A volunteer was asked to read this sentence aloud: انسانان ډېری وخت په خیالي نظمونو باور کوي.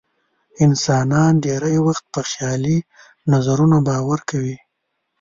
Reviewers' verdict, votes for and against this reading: rejected, 1, 2